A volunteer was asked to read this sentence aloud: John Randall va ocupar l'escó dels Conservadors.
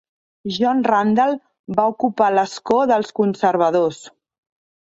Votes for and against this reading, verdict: 2, 0, accepted